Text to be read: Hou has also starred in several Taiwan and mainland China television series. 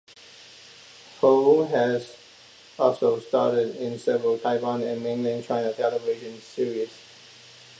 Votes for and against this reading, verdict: 1, 2, rejected